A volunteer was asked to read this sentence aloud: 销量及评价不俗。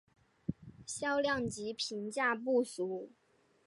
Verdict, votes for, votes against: accepted, 3, 0